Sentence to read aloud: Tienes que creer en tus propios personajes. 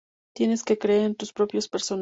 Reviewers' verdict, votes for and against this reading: rejected, 0, 2